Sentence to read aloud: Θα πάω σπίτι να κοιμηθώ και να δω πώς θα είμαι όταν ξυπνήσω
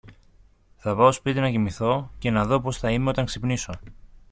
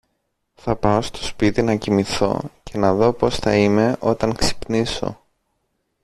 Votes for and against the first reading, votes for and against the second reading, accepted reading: 2, 0, 2, 3, first